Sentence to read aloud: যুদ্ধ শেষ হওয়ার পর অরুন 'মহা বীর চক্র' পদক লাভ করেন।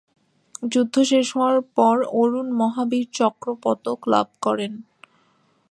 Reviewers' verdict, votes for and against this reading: accepted, 2, 0